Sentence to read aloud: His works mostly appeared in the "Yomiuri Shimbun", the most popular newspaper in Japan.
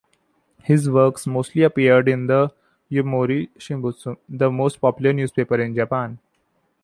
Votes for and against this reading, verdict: 0, 2, rejected